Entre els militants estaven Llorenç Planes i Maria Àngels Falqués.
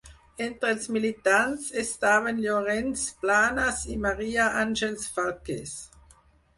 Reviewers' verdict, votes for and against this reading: accepted, 4, 0